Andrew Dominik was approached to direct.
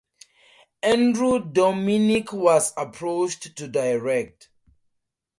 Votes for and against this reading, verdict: 2, 0, accepted